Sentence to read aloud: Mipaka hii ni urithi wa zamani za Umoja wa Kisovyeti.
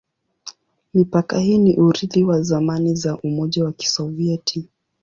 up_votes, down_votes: 11, 1